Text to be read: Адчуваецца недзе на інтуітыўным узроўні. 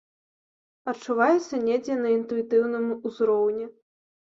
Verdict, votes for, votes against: accepted, 2, 0